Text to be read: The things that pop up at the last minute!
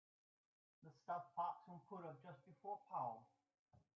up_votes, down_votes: 0, 2